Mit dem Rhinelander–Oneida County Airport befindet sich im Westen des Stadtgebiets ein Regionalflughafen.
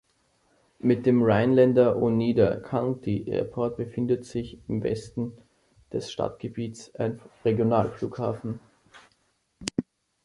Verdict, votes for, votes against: accepted, 2, 0